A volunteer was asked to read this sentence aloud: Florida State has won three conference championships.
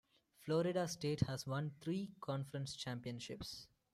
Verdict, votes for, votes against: accepted, 2, 0